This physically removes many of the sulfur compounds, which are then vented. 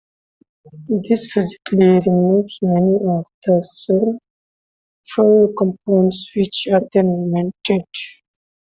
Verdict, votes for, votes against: accepted, 2, 0